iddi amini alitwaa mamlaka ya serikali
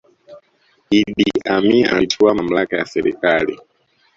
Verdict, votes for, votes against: rejected, 1, 2